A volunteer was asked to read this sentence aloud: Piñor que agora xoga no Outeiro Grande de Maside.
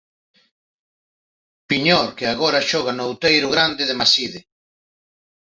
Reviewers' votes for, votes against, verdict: 2, 0, accepted